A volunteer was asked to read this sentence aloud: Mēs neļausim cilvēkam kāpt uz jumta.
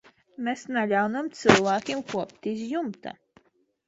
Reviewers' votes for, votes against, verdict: 0, 2, rejected